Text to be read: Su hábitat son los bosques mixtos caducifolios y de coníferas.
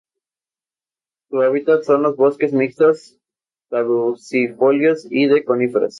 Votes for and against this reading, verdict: 2, 0, accepted